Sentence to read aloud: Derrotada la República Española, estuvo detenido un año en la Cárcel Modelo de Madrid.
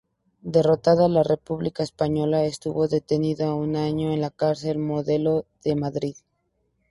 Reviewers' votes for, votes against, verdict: 0, 2, rejected